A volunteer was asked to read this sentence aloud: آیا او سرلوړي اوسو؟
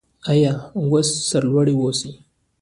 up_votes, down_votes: 2, 0